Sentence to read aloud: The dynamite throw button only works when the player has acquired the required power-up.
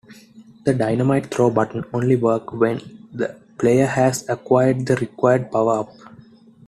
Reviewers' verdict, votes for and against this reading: rejected, 0, 2